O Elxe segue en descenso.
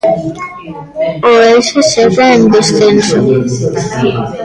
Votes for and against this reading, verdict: 1, 2, rejected